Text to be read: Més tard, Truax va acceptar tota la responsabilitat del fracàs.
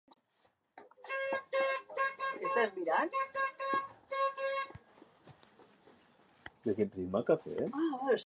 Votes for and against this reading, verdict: 0, 2, rejected